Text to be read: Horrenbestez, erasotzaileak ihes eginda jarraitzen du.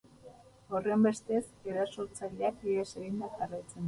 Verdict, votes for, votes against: rejected, 2, 2